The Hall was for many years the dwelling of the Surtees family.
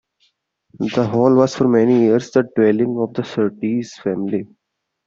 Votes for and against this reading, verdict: 2, 0, accepted